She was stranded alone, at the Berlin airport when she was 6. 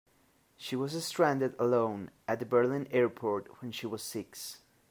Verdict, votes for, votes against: rejected, 0, 2